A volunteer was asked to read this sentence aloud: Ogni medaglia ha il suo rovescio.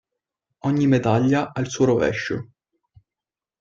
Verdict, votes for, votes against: accepted, 2, 0